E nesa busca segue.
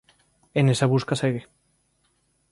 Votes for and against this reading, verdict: 3, 0, accepted